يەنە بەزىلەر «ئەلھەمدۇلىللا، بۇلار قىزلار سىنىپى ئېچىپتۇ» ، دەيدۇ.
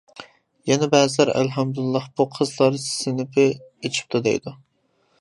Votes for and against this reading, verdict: 0, 2, rejected